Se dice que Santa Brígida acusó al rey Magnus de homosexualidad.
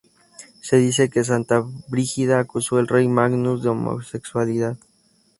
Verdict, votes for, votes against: accepted, 4, 2